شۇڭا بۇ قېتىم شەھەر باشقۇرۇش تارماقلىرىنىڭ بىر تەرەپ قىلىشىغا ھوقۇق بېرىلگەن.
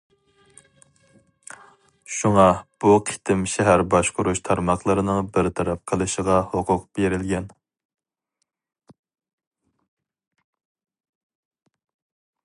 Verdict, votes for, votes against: accepted, 4, 0